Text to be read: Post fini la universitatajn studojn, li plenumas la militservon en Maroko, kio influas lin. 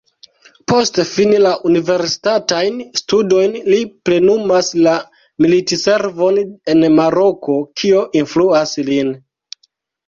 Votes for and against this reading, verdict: 2, 0, accepted